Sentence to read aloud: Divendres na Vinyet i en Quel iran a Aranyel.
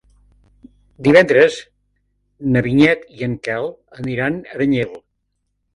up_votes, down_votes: 0, 2